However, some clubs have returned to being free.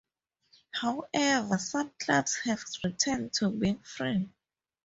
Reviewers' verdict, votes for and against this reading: accepted, 4, 0